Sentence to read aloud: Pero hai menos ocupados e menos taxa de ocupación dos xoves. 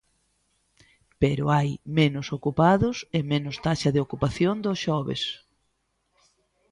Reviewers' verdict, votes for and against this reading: accepted, 2, 0